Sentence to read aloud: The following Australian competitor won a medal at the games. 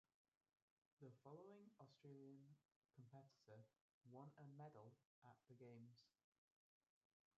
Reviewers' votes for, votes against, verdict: 0, 2, rejected